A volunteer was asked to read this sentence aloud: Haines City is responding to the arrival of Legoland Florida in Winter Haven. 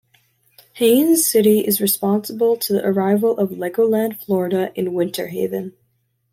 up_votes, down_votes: 0, 2